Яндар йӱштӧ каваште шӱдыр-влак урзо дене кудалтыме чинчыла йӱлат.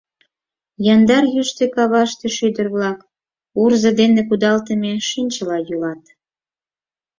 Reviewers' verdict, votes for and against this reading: accepted, 4, 0